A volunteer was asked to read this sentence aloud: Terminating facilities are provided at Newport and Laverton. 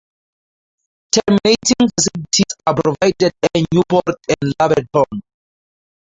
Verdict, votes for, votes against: rejected, 2, 2